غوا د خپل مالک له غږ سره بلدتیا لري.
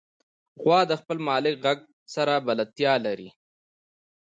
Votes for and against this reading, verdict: 1, 2, rejected